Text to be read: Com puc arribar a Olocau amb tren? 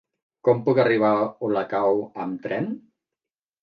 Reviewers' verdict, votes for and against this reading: rejected, 0, 2